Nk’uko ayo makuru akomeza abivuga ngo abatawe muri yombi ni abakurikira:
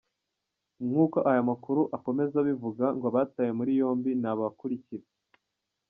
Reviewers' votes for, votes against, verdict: 2, 1, accepted